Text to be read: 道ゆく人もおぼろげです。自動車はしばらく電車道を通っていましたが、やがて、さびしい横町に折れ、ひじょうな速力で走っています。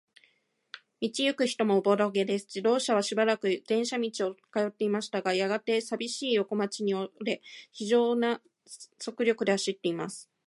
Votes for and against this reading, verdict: 2, 0, accepted